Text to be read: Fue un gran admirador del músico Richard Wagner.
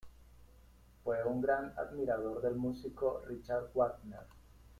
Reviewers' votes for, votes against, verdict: 2, 1, accepted